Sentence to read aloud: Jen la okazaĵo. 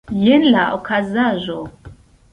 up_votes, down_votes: 2, 0